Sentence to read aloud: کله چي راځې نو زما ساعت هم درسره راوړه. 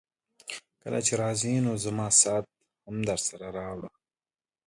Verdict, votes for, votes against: accepted, 2, 0